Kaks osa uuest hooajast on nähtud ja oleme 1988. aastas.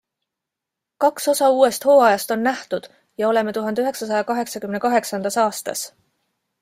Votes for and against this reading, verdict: 0, 2, rejected